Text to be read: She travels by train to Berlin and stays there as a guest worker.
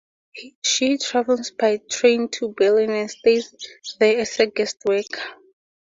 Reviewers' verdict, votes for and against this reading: rejected, 2, 2